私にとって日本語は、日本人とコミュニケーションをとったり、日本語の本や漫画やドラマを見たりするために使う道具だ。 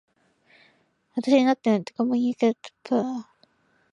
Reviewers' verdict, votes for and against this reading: rejected, 0, 2